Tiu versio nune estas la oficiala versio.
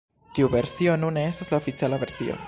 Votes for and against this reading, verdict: 1, 2, rejected